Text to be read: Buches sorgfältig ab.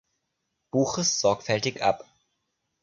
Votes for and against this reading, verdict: 2, 0, accepted